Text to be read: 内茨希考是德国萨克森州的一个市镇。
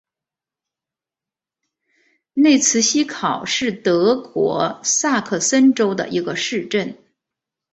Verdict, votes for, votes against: accepted, 2, 0